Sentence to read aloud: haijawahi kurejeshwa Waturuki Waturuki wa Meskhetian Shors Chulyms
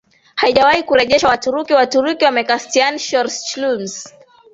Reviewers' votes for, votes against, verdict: 3, 0, accepted